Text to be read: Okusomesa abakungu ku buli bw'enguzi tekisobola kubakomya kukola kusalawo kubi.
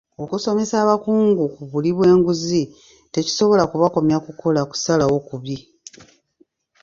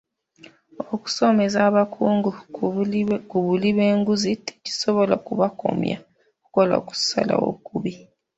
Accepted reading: first